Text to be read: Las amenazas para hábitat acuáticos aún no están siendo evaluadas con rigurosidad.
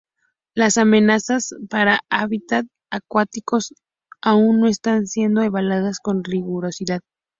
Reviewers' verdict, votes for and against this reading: accepted, 6, 0